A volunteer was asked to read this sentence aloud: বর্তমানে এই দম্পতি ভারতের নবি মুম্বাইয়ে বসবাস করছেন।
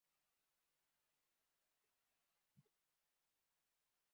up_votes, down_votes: 1, 2